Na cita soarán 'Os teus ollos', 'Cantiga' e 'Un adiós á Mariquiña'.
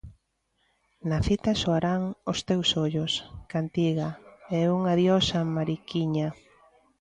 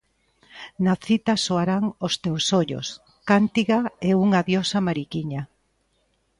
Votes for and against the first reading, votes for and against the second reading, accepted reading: 2, 0, 0, 2, first